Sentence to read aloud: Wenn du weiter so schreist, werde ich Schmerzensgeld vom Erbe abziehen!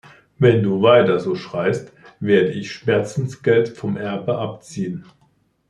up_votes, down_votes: 3, 0